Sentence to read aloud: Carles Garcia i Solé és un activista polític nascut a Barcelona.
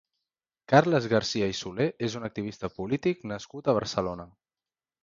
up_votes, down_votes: 2, 0